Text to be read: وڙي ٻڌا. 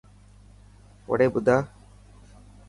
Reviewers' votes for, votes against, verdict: 3, 0, accepted